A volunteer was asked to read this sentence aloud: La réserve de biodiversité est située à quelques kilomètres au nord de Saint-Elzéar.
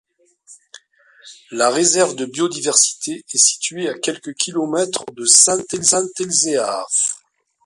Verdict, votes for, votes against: rejected, 0, 2